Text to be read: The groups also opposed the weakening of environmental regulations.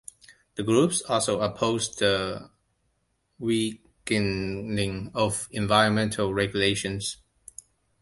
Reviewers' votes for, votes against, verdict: 1, 2, rejected